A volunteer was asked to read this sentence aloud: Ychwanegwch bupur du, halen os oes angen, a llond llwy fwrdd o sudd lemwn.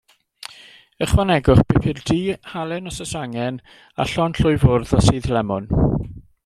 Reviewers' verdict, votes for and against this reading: accepted, 2, 0